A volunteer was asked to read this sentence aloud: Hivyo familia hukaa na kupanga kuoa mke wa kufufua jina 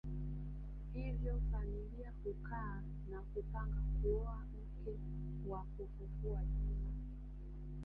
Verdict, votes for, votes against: rejected, 0, 2